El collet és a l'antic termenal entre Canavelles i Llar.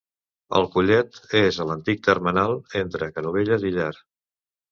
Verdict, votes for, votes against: rejected, 0, 2